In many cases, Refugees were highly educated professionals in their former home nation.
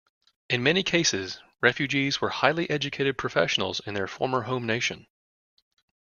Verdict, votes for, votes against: accepted, 2, 0